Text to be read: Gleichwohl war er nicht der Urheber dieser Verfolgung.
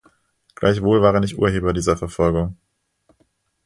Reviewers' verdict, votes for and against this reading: rejected, 0, 2